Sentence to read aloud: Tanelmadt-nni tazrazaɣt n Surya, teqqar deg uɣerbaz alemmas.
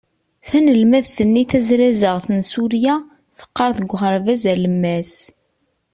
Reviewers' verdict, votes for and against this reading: accepted, 3, 0